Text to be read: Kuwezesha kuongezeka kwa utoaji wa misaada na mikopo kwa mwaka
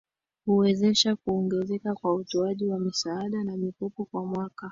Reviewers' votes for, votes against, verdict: 2, 0, accepted